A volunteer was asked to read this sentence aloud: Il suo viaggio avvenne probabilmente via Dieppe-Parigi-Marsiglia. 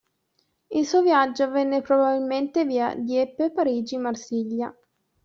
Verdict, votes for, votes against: accepted, 2, 0